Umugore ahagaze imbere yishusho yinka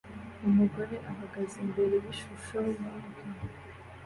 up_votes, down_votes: 2, 0